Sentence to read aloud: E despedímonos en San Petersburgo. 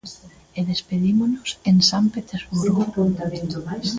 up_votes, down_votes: 0, 2